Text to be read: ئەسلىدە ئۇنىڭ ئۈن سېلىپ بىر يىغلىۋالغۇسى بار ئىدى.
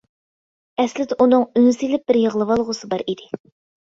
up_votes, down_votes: 2, 0